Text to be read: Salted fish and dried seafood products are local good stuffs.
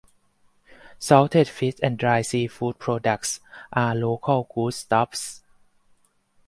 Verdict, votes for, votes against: accepted, 4, 0